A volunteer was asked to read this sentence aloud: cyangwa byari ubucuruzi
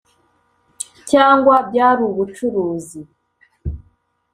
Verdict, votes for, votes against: accepted, 2, 0